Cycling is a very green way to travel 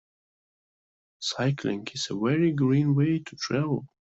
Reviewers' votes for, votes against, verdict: 2, 1, accepted